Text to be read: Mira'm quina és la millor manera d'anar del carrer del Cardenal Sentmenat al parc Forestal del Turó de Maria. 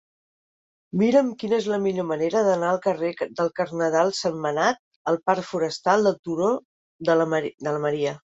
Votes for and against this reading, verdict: 1, 2, rejected